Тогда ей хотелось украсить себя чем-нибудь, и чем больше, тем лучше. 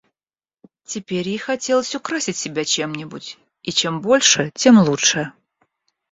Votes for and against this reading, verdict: 0, 2, rejected